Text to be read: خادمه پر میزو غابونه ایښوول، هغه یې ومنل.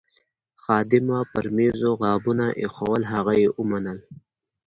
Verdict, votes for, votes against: accepted, 3, 1